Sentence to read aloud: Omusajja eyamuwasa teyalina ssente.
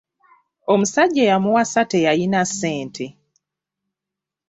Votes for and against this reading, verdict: 1, 2, rejected